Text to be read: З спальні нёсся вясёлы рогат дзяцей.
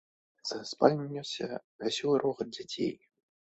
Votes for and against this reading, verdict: 2, 0, accepted